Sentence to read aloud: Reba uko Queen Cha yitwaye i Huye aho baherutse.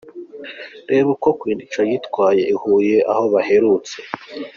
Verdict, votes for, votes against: accepted, 2, 0